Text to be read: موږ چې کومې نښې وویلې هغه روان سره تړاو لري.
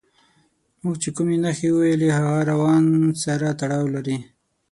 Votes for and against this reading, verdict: 6, 0, accepted